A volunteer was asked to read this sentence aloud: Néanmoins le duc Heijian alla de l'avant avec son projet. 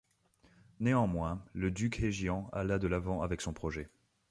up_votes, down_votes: 2, 0